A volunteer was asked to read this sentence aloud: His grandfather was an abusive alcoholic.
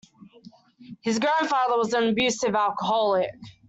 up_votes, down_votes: 2, 0